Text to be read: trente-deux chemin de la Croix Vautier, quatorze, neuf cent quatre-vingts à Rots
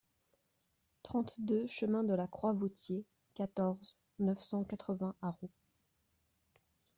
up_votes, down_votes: 2, 0